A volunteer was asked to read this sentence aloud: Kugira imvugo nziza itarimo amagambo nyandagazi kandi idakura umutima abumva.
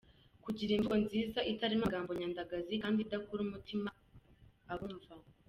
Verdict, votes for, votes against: accepted, 2, 0